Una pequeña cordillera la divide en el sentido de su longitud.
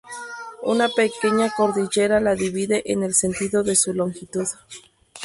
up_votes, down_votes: 0, 4